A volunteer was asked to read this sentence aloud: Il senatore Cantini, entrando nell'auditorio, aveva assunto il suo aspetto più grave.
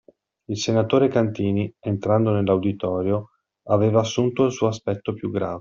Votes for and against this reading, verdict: 2, 1, accepted